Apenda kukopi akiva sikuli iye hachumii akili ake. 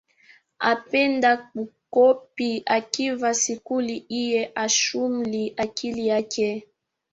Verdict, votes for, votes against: accepted, 2, 1